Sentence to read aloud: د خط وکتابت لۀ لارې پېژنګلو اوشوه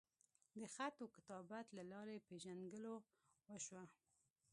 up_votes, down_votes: 1, 2